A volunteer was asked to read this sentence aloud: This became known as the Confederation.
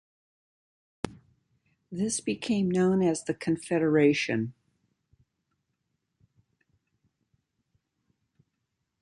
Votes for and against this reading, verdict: 2, 1, accepted